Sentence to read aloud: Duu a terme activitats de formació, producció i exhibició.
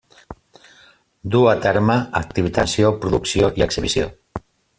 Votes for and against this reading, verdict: 0, 2, rejected